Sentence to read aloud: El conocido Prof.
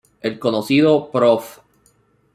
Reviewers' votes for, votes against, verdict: 2, 0, accepted